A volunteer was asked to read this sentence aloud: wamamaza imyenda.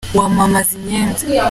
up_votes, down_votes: 3, 0